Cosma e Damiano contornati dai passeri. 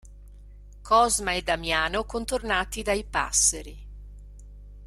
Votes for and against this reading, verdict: 2, 0, accepted